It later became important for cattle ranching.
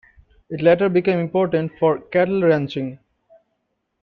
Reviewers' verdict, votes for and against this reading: accepted, 2, 0